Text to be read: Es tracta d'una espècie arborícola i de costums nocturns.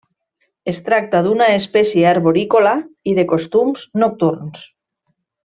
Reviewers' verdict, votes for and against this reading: accepted, 3, 0